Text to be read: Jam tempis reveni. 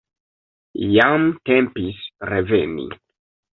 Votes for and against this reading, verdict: 2, 0, accepted